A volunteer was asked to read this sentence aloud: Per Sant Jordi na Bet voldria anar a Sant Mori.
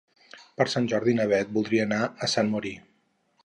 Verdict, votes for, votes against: accepted, 4, 2